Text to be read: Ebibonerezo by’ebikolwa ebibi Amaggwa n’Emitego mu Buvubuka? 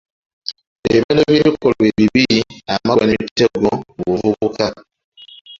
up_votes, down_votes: 0, 2